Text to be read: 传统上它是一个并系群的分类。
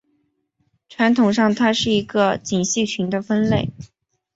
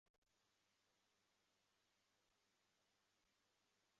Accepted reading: first